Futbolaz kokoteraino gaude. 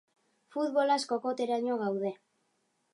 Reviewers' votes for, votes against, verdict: 2, 0, accepted